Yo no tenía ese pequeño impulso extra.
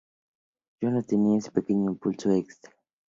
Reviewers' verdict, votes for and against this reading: rejected, 2, 2